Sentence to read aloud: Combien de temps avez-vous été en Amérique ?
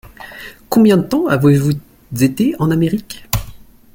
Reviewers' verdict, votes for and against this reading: rejected, 0, 2